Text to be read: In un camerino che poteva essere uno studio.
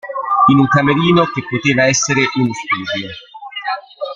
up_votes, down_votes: 1, 2